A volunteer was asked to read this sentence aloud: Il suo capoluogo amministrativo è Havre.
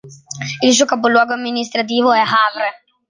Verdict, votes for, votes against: accepted, 2, 0